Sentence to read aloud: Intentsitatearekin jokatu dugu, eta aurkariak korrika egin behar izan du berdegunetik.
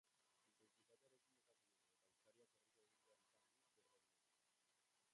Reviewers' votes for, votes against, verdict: 0, 2, rejected